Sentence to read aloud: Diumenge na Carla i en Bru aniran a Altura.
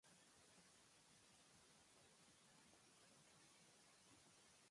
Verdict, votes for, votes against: rejected, 1, 2